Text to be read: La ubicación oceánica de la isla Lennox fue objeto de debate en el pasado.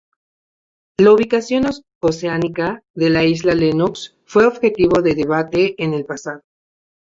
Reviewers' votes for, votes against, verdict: 0, 2, rejected